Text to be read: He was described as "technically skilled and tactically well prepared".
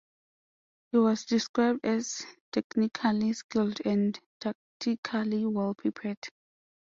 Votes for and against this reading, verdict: 2, 0, accepted